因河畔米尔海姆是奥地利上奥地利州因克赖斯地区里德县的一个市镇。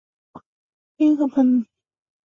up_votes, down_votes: 1, 2